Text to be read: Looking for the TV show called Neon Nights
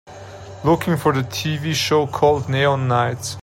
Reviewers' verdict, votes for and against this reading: accepted, 2, 0